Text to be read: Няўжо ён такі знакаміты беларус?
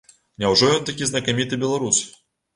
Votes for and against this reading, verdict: 2, 0, accepted